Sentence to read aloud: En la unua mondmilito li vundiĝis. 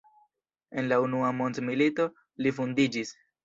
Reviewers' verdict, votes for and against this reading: accepted, 2, 0